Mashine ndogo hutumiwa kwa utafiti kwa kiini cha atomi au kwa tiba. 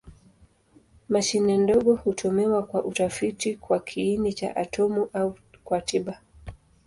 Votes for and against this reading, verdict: 0, 2, rejected